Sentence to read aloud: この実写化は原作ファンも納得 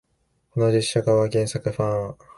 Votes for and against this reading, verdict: 1, 2, rejected